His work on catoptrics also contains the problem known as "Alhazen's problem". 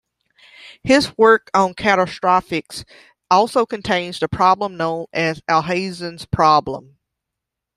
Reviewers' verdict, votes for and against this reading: rejected, 0, 2